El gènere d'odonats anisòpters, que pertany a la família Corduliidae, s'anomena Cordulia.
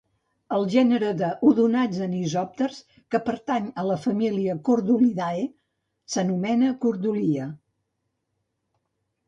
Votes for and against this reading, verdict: 0, 2, rejected